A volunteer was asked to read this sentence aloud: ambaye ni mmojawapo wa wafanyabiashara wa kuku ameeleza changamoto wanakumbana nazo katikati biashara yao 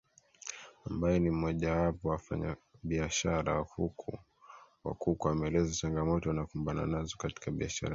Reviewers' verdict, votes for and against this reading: rejected, 1, 2